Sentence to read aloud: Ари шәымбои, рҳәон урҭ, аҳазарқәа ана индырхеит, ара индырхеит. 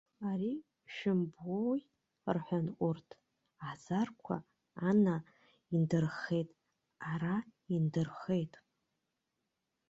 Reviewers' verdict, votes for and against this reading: rejected, 0, 2